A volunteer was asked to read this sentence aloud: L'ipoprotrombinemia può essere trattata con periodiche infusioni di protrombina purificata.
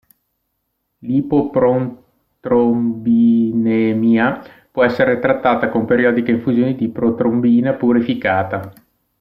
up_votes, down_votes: 0, 2